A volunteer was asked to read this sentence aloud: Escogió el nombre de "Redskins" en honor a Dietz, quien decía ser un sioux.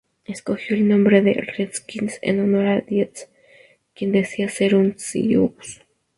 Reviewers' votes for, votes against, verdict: 2, 0, accepted